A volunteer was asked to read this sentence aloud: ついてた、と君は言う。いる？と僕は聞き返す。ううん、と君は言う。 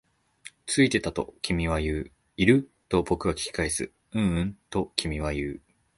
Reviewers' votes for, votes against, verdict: 2, 0, accepted